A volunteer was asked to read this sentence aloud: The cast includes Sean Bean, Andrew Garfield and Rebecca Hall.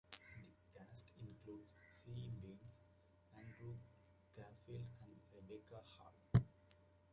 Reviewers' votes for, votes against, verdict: 0, 2, rejected